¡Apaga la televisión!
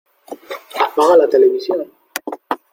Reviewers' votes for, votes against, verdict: 2, 1, accepted